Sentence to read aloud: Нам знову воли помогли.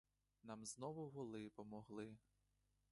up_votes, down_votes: 2, 0